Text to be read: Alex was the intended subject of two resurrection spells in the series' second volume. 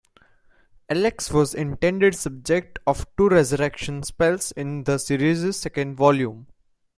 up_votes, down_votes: 1, 2